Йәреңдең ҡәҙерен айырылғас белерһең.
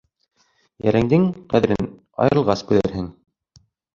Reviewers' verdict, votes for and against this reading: rejected, 1, 2